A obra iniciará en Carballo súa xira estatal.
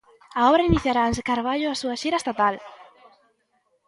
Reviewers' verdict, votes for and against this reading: accepted, 2, 0